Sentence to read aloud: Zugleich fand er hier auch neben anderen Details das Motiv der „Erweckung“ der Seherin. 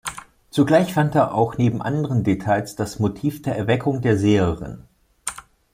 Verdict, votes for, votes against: rejected, 0, 2